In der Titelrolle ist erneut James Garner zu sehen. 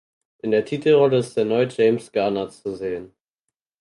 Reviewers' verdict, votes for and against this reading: accepted, 4, 0